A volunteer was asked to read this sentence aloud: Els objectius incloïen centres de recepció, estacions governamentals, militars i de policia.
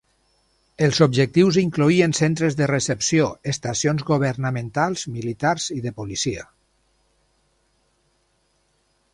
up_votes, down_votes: 4, 0